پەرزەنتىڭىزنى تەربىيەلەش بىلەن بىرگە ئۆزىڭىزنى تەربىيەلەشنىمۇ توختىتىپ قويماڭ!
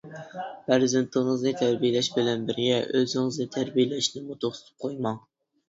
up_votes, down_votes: 0, 2